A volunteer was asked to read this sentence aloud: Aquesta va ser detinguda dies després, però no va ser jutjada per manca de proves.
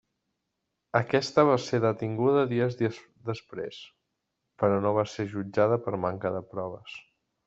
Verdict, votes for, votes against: rejected, 1, 2